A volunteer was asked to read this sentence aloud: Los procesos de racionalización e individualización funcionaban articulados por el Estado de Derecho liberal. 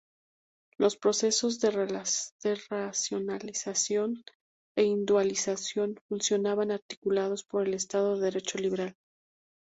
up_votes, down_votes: 0, 2